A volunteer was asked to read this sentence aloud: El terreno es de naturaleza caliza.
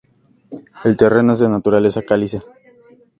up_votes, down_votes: 2, 0